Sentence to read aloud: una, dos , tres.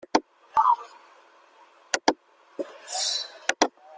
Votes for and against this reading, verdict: 0, 2, rejected